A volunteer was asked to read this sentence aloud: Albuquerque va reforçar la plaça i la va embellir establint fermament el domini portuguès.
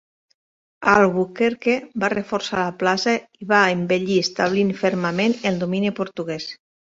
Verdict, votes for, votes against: rejected, 1, 2